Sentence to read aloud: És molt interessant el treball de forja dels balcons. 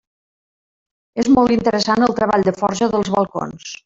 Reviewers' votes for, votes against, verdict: 0, 2, rejected